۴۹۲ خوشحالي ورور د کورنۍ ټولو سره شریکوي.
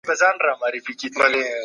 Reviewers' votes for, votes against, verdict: 0, 2, rejected